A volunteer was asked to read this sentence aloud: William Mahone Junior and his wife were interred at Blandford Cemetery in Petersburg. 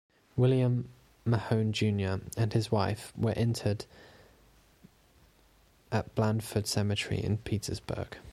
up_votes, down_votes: 2, 0